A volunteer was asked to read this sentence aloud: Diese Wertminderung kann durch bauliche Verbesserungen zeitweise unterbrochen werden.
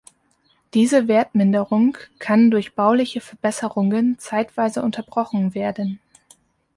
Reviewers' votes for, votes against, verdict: 2, 0, accepted